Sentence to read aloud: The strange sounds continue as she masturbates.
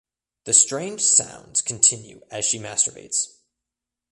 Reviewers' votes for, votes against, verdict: 2, 1, accepted